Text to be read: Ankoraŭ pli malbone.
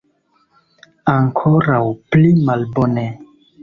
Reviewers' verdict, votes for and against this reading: rejected, 1, 2